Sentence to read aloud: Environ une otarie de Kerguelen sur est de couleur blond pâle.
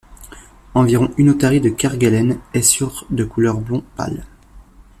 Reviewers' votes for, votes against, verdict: 1, 2, rejected